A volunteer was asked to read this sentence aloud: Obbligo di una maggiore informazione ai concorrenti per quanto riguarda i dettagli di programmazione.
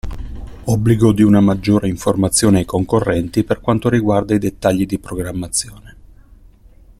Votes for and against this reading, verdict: 2, 0, accepted